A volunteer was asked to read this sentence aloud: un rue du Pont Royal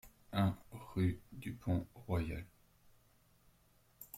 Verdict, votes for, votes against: accepted, 2, 0